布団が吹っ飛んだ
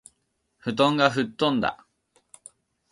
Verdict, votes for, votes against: accepted, 2, 0